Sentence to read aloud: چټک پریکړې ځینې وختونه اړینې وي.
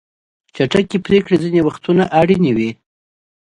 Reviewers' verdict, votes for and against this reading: accepted, 2, 0